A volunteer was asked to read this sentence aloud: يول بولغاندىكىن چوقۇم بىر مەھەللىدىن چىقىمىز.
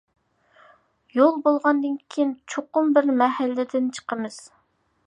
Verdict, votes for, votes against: accepted, 2, 1